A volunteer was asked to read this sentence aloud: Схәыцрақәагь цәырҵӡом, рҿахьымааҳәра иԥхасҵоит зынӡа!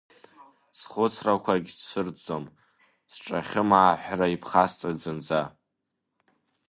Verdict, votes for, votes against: rejected, 1, 2